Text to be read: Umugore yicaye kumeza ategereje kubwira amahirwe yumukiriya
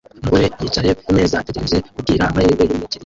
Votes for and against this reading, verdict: 0, 2, rejected